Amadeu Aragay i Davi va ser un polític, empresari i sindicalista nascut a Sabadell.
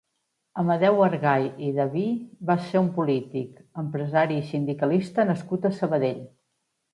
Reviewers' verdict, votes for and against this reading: rejected, 1, 2